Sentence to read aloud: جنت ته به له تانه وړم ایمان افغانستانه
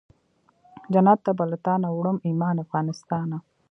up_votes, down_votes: 1, 2